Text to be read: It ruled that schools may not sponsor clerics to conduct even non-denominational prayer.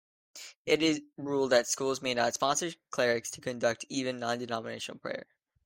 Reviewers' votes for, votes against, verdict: 1, 2, rejected